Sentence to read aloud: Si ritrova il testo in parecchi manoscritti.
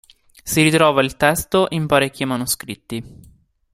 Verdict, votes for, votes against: accepted, 2, 0